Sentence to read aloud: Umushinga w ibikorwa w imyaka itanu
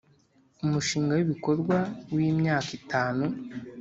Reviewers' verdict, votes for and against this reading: accepted, 2, 0